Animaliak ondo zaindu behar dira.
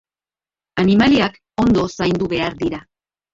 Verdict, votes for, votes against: rejected, 1, 2